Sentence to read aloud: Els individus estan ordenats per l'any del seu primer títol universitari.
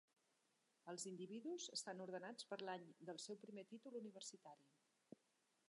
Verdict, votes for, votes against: accepted, 4, 0